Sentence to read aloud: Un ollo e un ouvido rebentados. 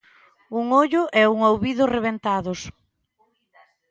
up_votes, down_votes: 2, 0